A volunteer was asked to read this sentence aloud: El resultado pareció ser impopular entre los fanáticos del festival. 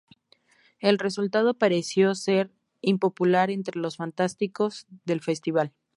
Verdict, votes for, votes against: rejected, 0, 2